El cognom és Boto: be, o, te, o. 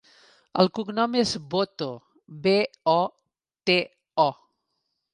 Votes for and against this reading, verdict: 2, 0, accepted